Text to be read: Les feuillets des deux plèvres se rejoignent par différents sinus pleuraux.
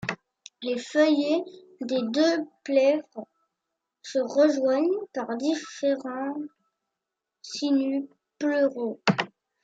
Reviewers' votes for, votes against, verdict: 0, 2, rejected